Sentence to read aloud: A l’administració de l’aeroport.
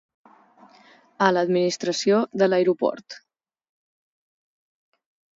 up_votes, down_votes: 6, 0